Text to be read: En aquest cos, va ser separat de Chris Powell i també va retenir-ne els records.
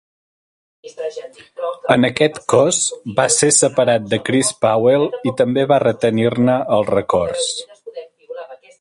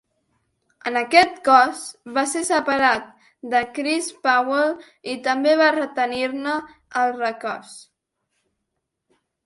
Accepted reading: second